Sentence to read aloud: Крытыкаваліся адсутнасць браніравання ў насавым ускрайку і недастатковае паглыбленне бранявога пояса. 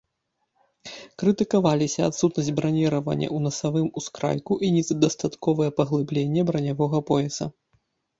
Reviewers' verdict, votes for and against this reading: rejected, 0, 2